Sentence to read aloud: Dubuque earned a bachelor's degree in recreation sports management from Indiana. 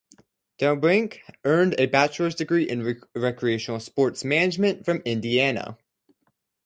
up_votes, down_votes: 0, 2